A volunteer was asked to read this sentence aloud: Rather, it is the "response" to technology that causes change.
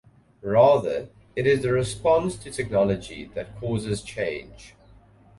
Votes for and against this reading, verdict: 2, 0, accepted